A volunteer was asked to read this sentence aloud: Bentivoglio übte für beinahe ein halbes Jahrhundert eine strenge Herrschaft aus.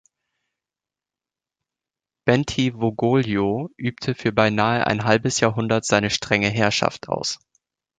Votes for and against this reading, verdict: 0, 2, rejected